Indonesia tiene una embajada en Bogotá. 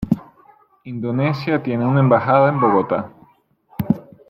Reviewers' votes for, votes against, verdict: 2, 0, accepted